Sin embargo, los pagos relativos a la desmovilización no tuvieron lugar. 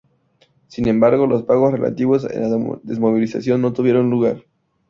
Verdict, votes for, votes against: rejected, 0, 2